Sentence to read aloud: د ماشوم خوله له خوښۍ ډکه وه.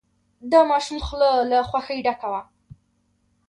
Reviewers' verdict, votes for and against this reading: rejected, 1, 2